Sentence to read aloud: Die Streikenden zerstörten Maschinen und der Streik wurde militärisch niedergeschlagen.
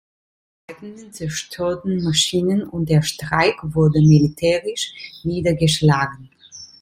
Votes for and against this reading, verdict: 0, 2, rejected